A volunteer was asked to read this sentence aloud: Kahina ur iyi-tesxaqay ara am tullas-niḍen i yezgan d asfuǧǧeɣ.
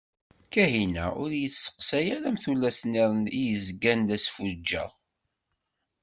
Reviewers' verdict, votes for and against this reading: rejected, 1, 2